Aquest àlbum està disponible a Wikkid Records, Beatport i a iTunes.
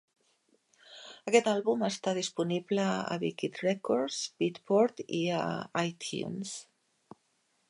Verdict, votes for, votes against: accepted, 2, 0